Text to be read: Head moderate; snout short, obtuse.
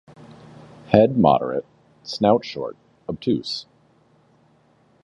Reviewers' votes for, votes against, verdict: 2, 0, accepted